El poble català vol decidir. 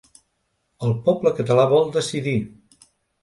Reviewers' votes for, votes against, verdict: 2, 0, accepted